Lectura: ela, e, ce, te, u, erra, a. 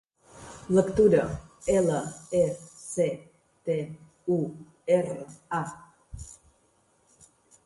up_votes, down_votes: 3, 0